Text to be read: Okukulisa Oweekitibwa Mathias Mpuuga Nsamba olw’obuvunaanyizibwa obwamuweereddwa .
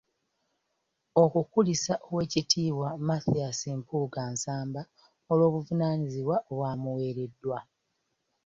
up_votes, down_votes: 2, 0